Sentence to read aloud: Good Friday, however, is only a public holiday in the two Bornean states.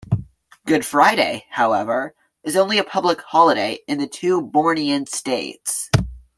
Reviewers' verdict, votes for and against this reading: accepted, 2, 0